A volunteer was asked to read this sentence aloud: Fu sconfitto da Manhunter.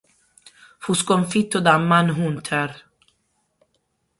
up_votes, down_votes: 6, 9